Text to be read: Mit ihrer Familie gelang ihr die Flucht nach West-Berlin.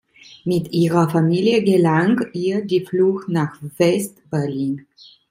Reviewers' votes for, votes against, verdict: 2, 0, accepted